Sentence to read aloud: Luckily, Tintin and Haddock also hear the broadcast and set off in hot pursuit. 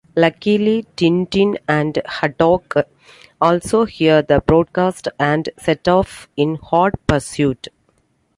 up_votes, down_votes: 2, 0